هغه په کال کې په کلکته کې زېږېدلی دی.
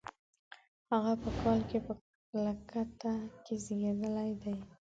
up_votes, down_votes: 1, 2